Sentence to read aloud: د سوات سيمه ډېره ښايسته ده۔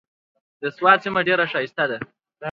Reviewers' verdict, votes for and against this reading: accepted, 2, 0